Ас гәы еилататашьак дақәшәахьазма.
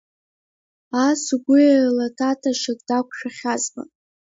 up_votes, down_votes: 0, 2